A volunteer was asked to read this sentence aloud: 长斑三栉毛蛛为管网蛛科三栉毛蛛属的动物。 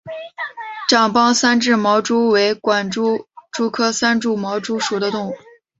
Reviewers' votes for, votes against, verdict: 1, 2, rejected